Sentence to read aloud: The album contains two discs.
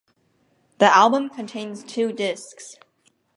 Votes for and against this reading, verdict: 2, 0, accepted